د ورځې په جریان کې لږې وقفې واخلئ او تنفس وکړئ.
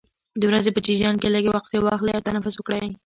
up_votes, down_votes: 1, 2